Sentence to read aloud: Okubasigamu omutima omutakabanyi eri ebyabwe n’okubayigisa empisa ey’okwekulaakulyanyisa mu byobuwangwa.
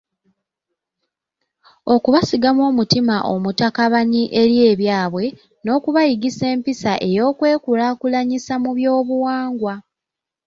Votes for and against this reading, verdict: 2, 0, accepted